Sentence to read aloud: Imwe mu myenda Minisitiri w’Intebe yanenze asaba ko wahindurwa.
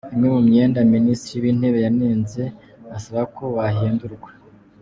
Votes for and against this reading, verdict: 2, 0, accepted